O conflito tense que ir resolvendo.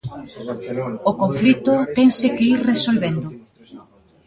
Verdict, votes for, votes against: rejected, 0, 2